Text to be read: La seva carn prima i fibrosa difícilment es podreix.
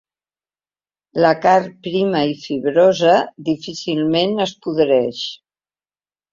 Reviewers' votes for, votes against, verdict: 1, 2, rejected